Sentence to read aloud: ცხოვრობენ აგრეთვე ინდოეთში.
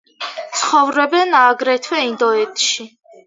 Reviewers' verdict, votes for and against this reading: accepted, 2, 0